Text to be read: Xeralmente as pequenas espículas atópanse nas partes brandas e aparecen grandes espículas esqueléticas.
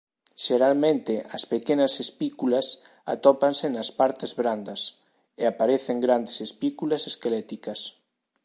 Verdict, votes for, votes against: accepted, 2, 0